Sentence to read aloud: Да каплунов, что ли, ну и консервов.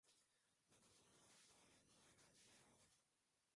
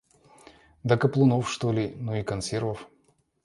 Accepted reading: second